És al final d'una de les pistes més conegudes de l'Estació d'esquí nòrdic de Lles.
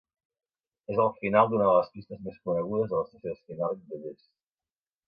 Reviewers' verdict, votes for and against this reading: rejected, 1, 2